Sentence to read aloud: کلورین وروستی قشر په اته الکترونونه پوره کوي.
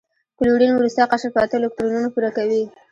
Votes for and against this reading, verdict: 2, 1, accepted